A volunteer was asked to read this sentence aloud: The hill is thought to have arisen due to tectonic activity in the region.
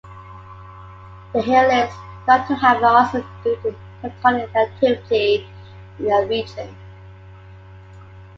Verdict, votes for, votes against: rejected, 0, 2